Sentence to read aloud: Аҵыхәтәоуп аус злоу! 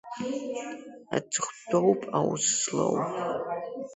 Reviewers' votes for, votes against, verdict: 2, 1, accepted